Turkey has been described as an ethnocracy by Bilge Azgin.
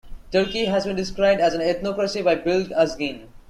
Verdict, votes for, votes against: accepted, 2, 0